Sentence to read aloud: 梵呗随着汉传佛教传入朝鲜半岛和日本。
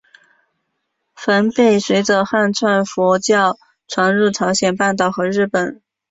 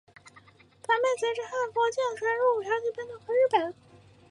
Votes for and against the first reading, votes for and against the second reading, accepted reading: 2, 0, 0, 5, first